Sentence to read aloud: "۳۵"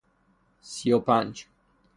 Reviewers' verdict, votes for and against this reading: rejected, 0, 2